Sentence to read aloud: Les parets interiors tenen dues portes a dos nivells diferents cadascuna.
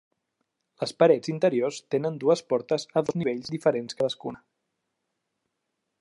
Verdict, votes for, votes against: accepted, 3, 1